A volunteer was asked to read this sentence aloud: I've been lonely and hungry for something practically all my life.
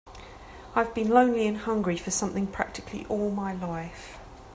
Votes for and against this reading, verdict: 3, 0, accepted